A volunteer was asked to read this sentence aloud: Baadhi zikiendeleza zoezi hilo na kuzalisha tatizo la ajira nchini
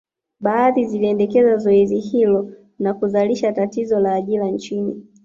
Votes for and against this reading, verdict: 2, 0, accepted